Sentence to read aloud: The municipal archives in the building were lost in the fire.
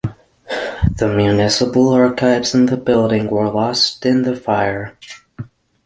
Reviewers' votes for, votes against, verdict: 6, 0, accepted